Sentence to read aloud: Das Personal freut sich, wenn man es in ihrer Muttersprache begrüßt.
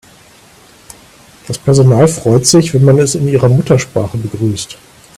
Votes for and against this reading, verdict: 0, 2, rejected